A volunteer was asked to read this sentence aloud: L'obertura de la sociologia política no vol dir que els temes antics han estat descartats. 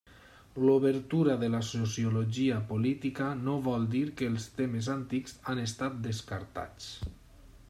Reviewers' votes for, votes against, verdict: 3, 0, accepted